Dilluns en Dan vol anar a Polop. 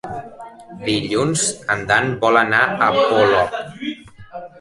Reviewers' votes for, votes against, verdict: 1, 2, rejected